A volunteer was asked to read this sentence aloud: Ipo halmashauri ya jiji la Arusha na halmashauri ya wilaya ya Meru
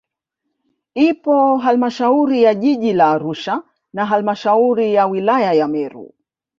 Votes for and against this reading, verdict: 0, 2, rejected